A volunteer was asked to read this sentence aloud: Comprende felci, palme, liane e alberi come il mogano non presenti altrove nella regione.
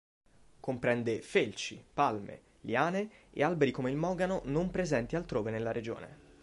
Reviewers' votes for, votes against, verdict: 2, 0, accepted